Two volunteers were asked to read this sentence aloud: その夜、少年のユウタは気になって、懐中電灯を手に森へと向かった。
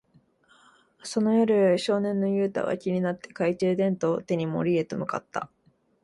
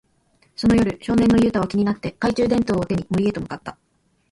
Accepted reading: first